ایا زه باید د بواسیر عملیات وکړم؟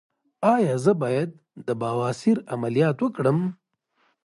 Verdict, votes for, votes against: accepted, 2, 0